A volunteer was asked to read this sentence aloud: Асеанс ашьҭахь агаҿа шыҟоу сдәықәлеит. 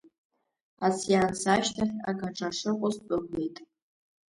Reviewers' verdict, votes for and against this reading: rejected, 0, 2